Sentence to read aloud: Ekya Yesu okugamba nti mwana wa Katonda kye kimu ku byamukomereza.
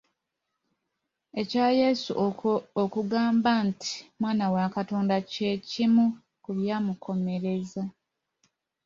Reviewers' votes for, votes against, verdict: 1, 2, rejected